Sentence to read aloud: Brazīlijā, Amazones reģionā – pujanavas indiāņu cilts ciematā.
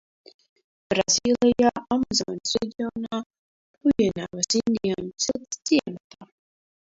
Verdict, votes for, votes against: rejected, 0, 2